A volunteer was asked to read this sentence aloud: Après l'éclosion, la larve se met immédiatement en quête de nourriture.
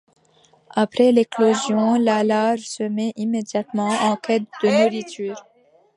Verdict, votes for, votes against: accepted, 2, 0